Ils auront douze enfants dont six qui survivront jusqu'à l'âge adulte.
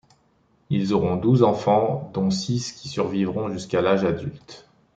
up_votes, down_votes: 2, 0